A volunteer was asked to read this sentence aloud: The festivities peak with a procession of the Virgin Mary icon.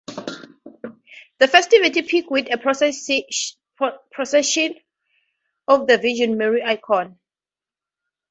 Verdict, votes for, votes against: rejected, 0, 2